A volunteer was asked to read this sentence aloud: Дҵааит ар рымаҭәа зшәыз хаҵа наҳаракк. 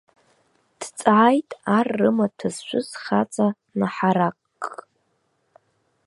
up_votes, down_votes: 0, 2